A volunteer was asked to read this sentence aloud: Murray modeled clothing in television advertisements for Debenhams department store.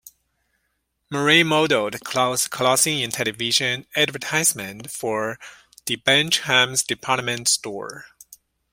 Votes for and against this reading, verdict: 2, 0, accepted